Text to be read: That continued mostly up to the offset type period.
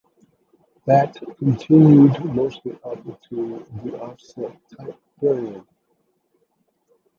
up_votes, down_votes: 1, 2